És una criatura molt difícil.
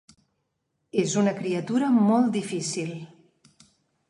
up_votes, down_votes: 3, 0